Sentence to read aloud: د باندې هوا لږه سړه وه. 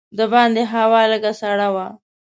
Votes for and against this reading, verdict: 2, 0, accepted